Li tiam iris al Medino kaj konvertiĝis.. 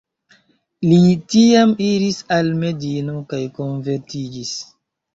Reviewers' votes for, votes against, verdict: 0, 2, rejected